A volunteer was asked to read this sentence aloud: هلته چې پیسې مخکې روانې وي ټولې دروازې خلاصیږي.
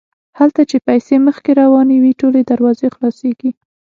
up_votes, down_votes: 6, 0